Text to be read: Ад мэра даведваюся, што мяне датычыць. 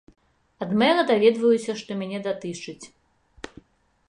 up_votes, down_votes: 2, 0